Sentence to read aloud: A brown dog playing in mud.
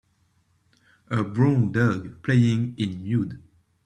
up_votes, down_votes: 1, 2